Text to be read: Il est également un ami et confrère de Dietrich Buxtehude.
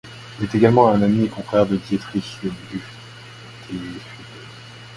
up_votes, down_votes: 0, 2